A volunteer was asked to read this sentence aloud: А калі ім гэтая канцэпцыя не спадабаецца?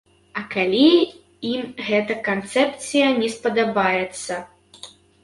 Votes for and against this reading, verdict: 3, 1, accepted